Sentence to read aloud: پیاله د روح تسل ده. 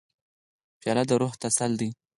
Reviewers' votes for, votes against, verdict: 2, 4, rejected